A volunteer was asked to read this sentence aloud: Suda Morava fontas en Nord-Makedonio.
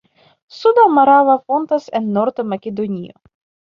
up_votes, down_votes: 2, 1